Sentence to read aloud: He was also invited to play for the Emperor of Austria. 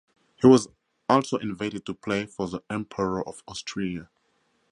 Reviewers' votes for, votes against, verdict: 0, 4, rejected